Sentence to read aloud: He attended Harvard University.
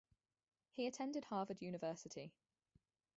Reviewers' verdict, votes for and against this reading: rejected, 2, 2